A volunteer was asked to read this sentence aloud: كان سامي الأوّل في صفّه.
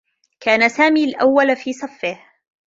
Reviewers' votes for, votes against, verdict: 2, 0, accepted